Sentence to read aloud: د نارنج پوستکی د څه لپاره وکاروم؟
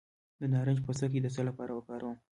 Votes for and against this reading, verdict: 1, 2, rejected